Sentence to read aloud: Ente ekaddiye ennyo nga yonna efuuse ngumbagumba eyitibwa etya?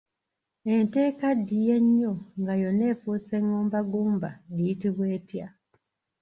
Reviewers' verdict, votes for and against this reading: rejected, 1, 2